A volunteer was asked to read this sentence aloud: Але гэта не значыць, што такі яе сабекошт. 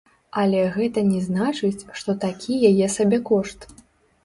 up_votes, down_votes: 1, 2